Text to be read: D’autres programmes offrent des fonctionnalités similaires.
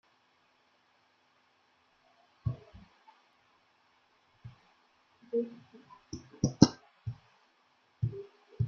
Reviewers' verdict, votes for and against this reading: rejected, 0, 2